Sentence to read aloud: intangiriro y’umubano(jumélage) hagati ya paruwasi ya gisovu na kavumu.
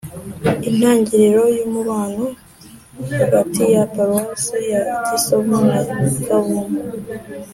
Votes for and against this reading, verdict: 2, 0, accepted